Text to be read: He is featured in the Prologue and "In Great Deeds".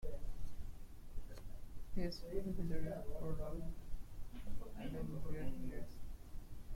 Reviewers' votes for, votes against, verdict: 0, 2, rejected